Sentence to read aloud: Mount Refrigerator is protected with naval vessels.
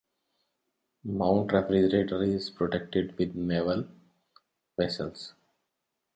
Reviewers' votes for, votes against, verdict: 3, 0, accepted